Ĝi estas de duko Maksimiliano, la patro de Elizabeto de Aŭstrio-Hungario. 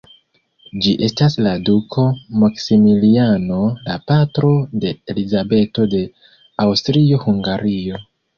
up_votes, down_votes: 1, 2